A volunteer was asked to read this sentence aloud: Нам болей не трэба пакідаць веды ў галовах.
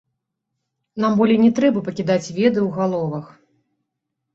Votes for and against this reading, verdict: 2, 0, accepted